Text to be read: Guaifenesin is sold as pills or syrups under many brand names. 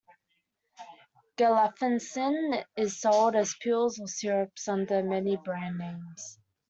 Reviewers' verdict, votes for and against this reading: rejected, 0, 2